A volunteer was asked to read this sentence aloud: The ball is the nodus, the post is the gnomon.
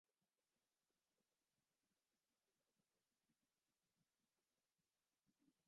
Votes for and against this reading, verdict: 0, 2, rejected